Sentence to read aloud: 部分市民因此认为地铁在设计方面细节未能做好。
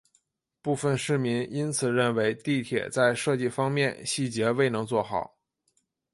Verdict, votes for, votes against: accepted, 3, 0